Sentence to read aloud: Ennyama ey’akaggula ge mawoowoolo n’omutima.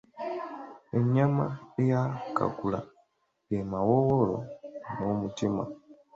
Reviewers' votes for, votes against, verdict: 3, 0, accepted